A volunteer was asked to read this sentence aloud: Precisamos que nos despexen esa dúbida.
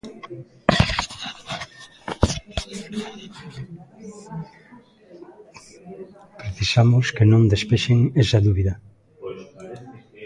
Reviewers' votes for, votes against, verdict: 0, 3, rejected